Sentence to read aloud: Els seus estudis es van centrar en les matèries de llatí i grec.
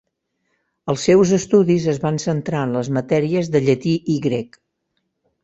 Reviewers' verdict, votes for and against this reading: accepted, 3, 0